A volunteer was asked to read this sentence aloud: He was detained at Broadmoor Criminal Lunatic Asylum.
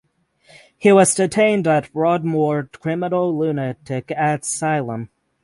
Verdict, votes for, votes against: accepted, 6, 0